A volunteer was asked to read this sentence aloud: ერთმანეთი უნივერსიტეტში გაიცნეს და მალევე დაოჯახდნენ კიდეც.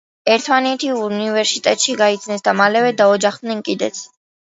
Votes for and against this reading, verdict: 2, 0, accepted